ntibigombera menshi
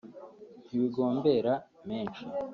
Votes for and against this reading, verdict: 1, 2, rejected